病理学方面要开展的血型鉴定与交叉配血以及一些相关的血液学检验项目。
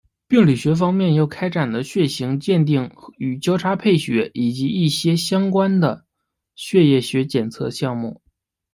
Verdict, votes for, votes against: rejected, 1, 2